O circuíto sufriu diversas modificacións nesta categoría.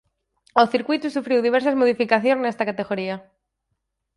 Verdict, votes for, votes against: accepted, 4, 0